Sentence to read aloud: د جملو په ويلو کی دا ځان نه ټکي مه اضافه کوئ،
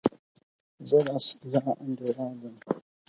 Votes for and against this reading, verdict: 2, 4, rejected